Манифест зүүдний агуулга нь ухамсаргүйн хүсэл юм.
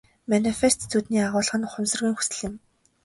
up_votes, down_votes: 5, 0